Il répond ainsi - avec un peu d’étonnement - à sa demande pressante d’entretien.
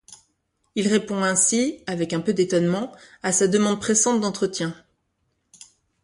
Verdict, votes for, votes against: accepted, 2, 0